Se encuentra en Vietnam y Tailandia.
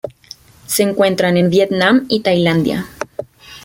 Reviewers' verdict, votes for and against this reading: rejected, 0, 2